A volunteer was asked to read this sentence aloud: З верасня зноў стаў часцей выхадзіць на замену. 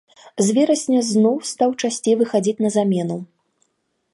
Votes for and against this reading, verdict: 2, 0, accepted